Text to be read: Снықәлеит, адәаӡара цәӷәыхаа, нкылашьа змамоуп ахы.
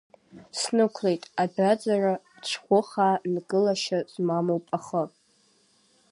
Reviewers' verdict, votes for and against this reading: accepted, 2, 1